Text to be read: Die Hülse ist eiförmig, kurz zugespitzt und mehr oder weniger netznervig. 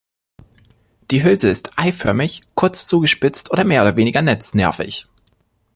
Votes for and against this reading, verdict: 1, 2, rejected